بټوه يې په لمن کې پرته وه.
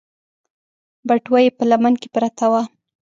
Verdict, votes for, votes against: accepted, 2, 0